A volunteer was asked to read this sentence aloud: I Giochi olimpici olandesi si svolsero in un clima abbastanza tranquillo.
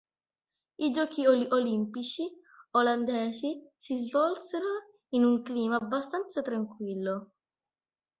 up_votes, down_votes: 1, 2